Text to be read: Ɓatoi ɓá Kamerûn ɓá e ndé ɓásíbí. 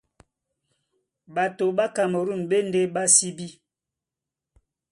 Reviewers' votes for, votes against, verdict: 2, 0, accepted